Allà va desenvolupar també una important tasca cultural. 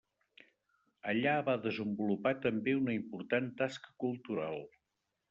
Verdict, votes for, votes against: accepted, 3, 0